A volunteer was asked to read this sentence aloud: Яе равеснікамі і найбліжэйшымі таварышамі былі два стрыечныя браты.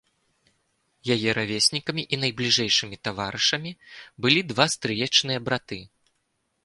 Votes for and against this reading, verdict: 2, 0, accepted